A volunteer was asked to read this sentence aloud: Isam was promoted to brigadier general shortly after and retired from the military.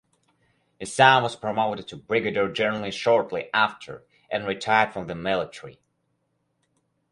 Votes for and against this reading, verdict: 4, 2, accepted